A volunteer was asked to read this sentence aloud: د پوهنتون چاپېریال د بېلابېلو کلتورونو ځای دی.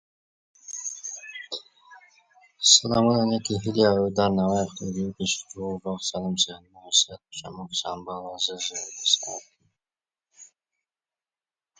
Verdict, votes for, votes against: rejected, 0, 2